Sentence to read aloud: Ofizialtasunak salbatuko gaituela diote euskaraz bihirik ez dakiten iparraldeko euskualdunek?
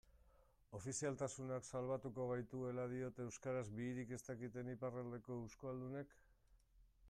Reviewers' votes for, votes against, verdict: 0, 2, rejected